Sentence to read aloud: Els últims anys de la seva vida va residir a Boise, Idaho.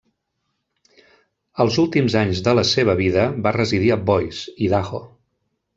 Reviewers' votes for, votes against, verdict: 2, 0, accepted